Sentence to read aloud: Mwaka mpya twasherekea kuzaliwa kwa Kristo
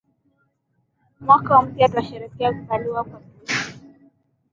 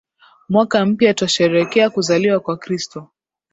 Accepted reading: second